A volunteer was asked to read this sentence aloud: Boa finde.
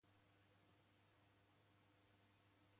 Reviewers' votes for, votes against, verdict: 0, 2, rejected